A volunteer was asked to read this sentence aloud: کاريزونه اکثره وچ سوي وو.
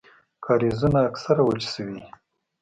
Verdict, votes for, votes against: rejected, 1, 2